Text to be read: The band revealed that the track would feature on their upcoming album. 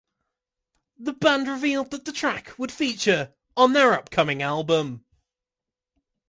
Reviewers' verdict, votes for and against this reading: accepted, 2, 0